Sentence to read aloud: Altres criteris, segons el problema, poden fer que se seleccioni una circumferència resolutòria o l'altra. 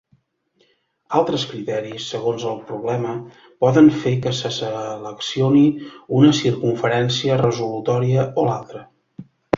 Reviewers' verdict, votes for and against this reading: rejected, 1, 2